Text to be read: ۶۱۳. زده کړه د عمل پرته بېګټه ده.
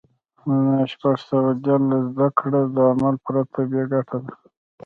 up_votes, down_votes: 0, 2